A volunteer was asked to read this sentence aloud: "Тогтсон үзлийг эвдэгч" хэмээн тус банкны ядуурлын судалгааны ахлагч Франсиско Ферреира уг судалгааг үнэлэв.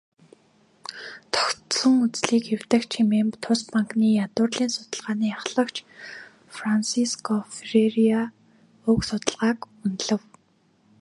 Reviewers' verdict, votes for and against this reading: accepted, 2, 0